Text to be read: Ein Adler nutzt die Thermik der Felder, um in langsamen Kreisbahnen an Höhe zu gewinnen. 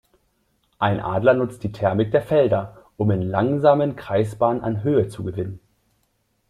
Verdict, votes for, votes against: accepted, 2, 0